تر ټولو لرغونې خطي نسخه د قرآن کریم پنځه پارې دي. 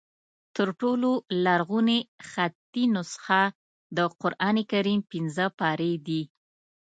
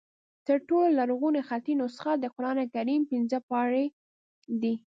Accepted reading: second